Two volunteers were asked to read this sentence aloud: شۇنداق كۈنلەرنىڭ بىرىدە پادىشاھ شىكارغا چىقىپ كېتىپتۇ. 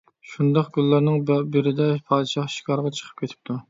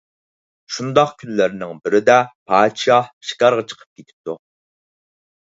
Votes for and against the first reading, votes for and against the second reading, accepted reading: 0, 2, 4, 0, second